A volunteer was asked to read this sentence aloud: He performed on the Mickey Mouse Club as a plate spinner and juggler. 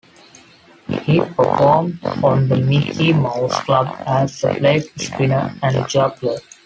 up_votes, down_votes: 1, 2